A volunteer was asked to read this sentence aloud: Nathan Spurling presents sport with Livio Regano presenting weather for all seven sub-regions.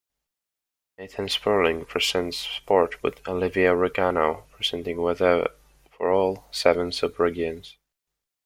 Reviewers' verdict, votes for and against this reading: rejected, 0, 2